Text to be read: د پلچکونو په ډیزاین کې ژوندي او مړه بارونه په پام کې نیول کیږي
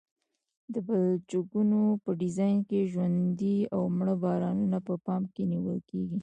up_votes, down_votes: 1, 2